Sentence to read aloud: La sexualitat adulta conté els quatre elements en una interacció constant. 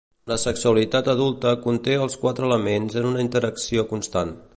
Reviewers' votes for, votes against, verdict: 2, 0, accepted